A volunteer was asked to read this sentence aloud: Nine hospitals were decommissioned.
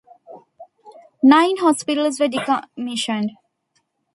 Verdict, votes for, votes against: rejected, 0, 2